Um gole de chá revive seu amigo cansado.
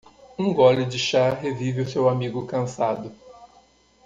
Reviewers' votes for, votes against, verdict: 0, 2, rejected